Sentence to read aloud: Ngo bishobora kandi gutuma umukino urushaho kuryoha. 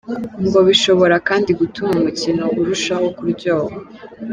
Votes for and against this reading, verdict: 2, 0, accepted